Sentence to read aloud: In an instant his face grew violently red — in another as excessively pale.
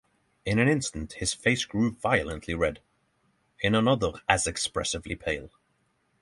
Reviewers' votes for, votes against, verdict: 3, 3, rejected